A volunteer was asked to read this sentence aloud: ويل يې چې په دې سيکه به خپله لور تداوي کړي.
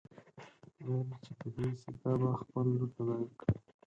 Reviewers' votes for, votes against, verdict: 2, 4, rejected